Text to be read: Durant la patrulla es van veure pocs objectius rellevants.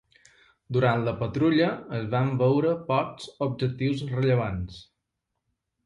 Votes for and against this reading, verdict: 2, 0, accepted